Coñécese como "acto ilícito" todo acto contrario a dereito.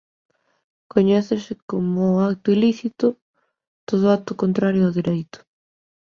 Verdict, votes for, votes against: rejected, 0, 2